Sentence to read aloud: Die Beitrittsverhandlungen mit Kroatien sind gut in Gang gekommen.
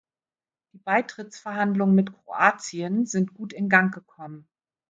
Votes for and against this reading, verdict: 0, 2, rejected